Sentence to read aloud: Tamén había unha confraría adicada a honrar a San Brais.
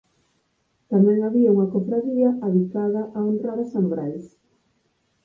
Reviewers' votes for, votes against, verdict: 0, 4, rejected